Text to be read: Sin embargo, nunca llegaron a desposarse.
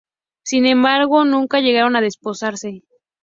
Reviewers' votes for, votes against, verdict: 2, 0, accepted